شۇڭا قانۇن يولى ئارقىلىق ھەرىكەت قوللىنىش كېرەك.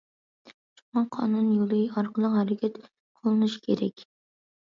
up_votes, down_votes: 2, 0